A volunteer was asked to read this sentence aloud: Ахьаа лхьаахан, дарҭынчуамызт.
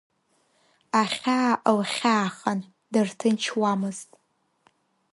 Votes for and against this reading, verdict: 2, 1, accepted